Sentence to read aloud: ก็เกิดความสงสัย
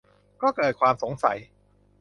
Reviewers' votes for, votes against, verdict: 2, 0, accepted